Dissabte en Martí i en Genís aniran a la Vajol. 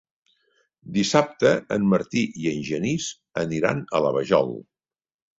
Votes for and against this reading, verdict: 3, 0, accepted